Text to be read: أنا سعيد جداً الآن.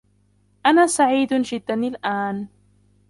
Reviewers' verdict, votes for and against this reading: rejected, 1, 2